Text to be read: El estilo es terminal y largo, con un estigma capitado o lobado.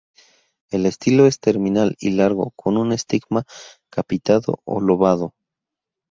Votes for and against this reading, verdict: 2, 0, accepted